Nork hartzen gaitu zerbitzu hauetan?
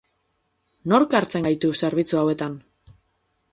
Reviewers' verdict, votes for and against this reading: accepted, 4, 0